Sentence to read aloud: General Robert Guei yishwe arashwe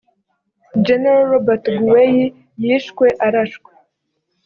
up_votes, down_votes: 2, 0